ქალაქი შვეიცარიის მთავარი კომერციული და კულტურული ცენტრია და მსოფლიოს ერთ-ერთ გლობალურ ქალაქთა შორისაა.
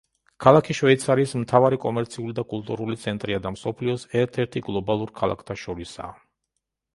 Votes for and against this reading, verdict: 0, 2, rejected